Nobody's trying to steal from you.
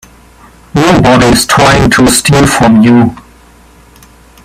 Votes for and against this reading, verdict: 1, 2, rejected